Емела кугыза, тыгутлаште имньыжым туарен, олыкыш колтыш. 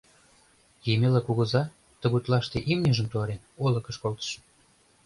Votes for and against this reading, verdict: 2, 0, accepted